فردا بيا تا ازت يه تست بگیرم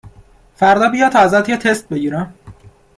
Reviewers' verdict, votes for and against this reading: accepted, 2, 0